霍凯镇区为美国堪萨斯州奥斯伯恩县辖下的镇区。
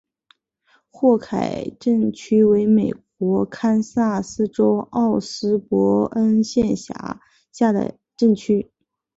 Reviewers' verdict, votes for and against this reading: accepted, 2, 0